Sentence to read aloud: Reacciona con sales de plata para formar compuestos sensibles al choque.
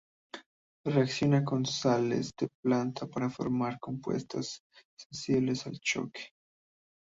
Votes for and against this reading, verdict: 0, 3, rejected